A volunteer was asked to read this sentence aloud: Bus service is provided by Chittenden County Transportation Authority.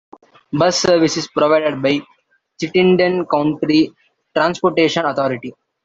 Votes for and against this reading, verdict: 1, 3, rejected